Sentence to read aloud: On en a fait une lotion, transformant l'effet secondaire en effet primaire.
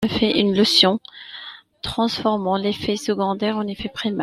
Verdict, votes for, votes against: rejected, 0, 2